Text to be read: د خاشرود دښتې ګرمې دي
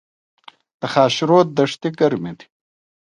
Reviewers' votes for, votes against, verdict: 0, 2, rejected